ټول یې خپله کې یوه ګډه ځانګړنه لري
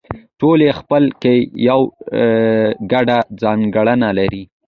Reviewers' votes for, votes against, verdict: 2, 0, accepted